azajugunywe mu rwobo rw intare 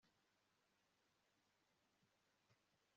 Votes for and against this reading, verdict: 1, 2, rejected